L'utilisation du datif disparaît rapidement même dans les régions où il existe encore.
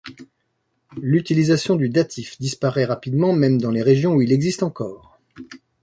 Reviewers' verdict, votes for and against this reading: accepted, 2, 0